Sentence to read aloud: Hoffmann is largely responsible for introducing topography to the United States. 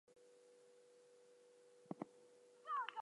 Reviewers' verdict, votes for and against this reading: rejected, 0, 4